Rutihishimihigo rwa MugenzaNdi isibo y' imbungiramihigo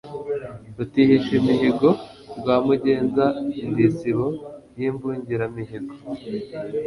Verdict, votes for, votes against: accepted, 2, 0